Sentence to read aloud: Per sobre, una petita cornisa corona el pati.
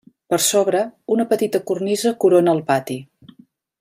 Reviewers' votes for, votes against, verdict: 3, 0, accepted